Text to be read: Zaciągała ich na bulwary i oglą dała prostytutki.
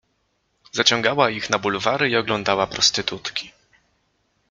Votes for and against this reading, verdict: 2, 0, accepted